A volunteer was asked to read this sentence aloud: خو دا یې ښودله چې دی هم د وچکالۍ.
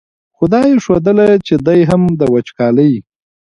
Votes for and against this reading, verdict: 2, 0, accepted